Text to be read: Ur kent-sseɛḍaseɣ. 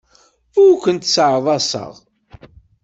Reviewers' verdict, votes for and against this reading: accepted, 2, 0